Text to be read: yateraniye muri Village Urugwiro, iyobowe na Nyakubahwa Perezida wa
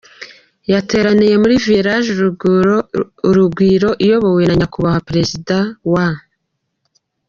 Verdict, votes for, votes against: rejected, 2, 3